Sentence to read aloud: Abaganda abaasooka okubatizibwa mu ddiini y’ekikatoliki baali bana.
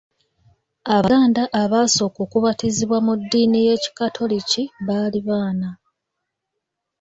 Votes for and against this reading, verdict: 2, 0, accepted